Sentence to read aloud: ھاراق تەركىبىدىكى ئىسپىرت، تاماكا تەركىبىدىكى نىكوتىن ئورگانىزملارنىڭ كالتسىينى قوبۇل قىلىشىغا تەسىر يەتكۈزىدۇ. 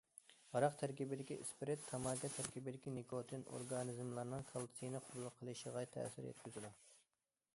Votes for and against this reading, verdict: 2, 0, accepted